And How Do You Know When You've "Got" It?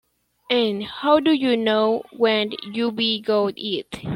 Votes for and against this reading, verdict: 0, 2, rejected